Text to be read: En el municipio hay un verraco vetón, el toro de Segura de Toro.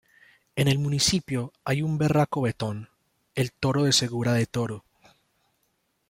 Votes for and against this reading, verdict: 1, 2, rejected